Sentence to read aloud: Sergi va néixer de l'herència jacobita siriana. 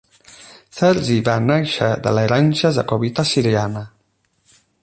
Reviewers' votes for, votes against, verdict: 8, 0, accepted